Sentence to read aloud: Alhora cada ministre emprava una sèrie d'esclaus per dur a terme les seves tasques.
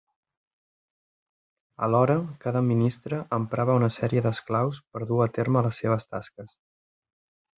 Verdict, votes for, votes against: accepted, 3, 0